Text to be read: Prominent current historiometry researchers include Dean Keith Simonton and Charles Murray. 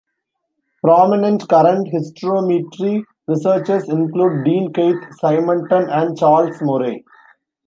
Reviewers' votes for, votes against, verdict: 1, 2, rejected